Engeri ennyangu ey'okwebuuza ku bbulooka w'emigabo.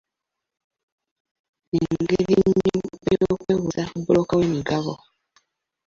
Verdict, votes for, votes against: rejected, 0, 2